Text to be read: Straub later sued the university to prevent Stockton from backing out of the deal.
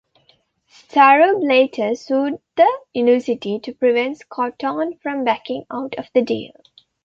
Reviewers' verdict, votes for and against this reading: rejected, 0, 2